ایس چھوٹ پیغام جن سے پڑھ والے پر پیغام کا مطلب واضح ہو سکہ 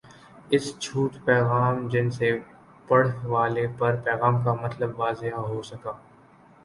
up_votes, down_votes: 2, 1